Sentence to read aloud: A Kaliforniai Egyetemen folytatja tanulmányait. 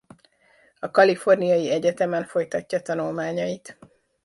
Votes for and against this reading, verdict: 1, 2, rejected